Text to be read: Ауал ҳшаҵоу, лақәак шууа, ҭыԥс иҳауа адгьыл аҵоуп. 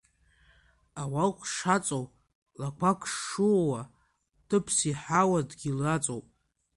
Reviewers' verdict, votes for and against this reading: rejected, 0, 2